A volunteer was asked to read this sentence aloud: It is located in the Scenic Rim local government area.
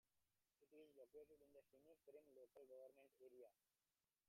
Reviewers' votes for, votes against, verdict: 0, 2, rejected